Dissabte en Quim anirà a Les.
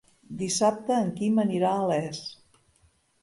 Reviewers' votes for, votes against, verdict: 4, 0, accepted